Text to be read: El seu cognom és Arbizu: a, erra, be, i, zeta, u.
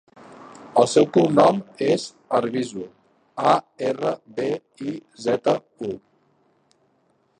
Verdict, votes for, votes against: rejected, 1, 2